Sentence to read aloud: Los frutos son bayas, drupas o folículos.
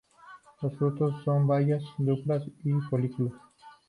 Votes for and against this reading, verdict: 0, 2, rejected